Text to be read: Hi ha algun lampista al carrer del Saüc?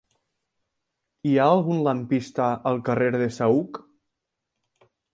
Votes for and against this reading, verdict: 1, 2, rejected